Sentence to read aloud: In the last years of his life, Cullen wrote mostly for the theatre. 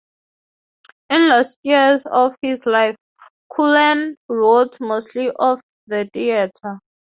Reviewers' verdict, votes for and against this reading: rejected, 0, 3